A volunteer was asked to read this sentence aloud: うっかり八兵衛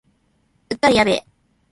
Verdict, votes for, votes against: rejected, 0, 2